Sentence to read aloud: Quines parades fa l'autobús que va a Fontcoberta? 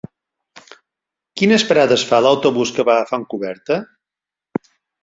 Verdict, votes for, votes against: accepted, 8, 0